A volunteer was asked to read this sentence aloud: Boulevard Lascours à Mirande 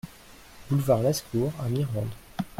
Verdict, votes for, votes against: rejected, 0, 2